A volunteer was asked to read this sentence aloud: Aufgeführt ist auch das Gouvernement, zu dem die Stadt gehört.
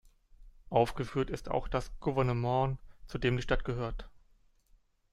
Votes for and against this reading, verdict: 2, 0, accepted